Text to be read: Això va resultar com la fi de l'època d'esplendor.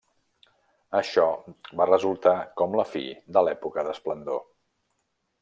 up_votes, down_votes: 3, 0